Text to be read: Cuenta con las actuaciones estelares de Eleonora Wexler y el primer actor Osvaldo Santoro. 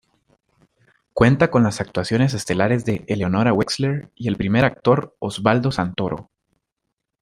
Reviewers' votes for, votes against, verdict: 2, 0, accepted